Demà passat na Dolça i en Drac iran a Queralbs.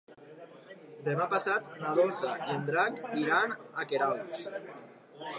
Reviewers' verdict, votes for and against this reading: accepted, 2, 0